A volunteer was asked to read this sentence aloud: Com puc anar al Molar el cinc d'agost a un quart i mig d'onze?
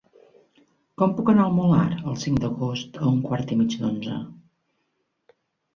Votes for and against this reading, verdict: 3, 0, accepted